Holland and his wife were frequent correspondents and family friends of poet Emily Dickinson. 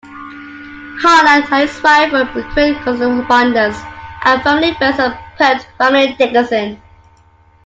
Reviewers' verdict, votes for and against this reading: rejected, 0, 2